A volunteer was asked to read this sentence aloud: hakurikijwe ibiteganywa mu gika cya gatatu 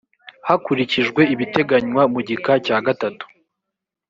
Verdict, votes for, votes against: accepted, 2, 0